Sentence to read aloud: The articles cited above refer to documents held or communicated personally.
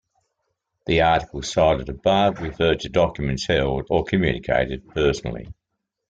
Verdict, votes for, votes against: rejected, 1, 2